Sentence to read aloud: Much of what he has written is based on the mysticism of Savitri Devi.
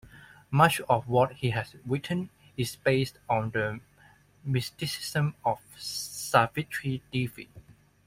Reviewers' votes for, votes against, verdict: 1, 2, rejected